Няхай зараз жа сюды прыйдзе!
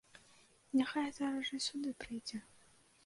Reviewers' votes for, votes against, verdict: 2, 0, accepted